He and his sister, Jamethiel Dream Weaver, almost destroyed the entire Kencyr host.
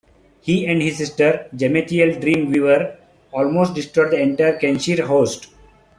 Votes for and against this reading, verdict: 2, 1, accepted